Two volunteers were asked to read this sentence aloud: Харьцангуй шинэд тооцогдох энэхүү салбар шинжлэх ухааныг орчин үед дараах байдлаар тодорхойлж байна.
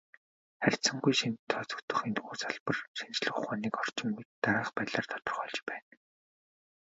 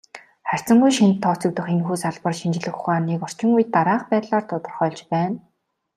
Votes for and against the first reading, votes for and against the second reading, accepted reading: 1, 2, 2, 0, second